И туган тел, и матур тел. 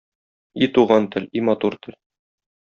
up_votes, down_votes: 2, 0